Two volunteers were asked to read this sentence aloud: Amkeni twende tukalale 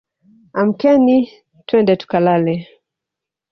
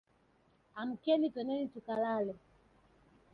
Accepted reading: first